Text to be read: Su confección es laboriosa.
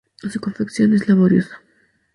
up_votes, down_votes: 0, 2